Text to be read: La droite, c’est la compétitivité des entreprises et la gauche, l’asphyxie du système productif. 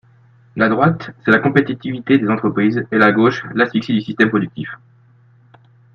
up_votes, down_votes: 3, 1